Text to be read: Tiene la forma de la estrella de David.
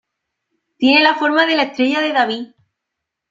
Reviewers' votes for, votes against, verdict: 2, 1, accepted